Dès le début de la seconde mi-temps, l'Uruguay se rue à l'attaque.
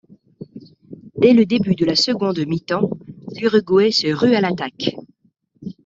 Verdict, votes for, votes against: accepted, 2, 0